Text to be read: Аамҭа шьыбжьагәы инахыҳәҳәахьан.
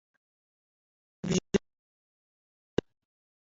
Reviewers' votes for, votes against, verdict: 0, 2, rejected